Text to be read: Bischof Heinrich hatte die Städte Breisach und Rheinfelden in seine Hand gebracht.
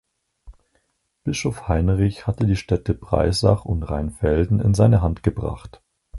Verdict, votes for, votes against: accepted, 4, 0